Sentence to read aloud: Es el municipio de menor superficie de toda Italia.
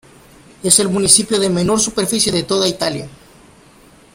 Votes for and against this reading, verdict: 1, 2, rejected